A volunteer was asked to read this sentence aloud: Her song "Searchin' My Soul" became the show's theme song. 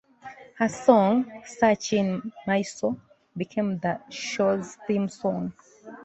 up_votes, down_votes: 2, 1